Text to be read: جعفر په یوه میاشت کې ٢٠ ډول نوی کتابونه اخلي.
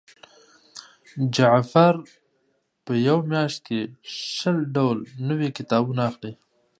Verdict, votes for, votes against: rejected, 0, 2